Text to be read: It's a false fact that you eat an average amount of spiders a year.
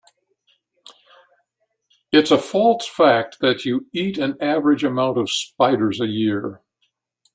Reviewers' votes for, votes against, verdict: 2, 0, accepted